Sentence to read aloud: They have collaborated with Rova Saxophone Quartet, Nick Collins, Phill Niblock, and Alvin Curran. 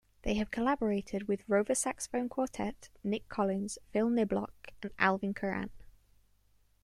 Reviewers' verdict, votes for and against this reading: accepted, 2, 0